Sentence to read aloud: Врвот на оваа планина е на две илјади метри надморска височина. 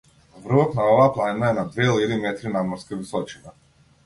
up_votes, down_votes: 0, 2